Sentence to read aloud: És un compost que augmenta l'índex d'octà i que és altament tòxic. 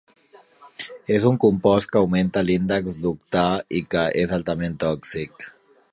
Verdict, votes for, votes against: accepted, 4, 0